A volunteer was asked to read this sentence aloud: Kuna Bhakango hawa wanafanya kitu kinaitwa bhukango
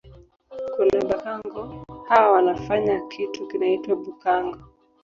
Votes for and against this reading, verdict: 1, 2, rejected